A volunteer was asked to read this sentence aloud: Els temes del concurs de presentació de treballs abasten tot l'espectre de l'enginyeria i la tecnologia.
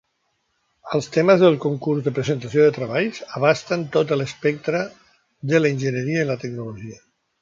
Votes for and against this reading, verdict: 1, 2, rejected